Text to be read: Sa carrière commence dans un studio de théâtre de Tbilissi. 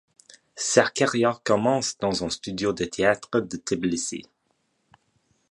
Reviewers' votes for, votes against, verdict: 2, 0, accepted